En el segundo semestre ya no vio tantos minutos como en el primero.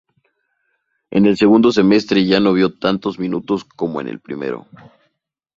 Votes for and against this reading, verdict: 2, 0, accepted